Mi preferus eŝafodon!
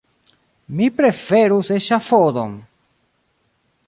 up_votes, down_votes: 2, 0